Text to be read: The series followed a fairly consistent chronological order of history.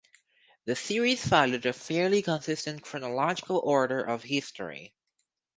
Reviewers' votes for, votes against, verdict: 4, 2, accepted